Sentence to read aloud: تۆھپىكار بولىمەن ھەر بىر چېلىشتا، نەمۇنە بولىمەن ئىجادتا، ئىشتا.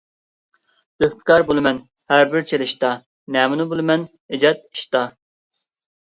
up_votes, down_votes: 0, 2